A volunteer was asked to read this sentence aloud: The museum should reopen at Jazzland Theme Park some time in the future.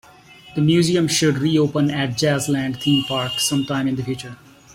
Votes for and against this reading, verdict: 2, 0, accepted